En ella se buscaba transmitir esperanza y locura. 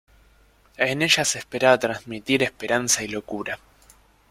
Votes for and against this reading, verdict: 0, 2, rejected